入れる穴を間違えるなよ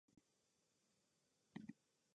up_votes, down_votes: 0, 2